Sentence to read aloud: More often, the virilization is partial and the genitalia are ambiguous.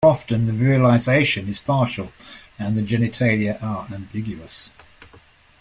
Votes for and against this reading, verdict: 1, 3, rejected